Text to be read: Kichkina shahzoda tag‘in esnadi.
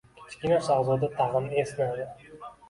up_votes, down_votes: 2, 1